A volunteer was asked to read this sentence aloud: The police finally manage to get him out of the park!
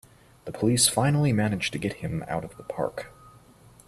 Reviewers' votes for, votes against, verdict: 3, 1, accepted